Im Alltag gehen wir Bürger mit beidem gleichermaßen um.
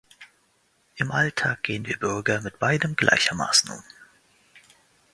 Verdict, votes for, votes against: accepted, 2, 1